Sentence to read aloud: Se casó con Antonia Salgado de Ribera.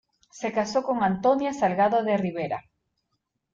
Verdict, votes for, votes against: accepted, 2, 0